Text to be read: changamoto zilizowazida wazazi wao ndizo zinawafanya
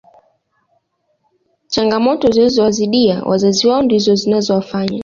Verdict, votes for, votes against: accepted, 2, 1